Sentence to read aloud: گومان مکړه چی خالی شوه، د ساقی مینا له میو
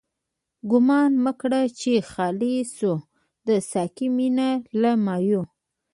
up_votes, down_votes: 1, 2